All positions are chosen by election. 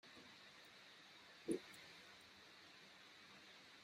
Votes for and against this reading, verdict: 0, 2, rejected